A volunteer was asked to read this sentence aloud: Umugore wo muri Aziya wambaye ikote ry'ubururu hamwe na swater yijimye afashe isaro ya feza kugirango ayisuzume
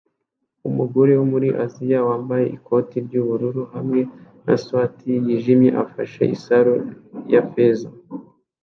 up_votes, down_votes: 1, 2